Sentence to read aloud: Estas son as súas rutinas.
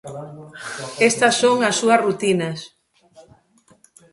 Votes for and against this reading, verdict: 0, 2, rejected